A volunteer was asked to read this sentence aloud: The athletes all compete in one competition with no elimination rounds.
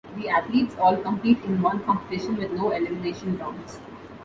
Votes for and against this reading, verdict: 2, 0, accepted